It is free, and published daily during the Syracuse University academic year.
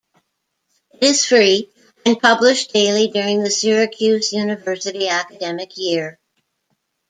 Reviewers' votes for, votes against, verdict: 1, 2, rejected